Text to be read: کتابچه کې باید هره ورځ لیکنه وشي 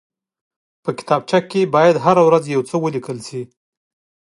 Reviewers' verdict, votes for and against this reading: rejected, 0, 2